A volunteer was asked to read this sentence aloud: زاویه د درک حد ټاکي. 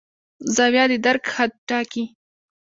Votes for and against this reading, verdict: 1, 2, rejected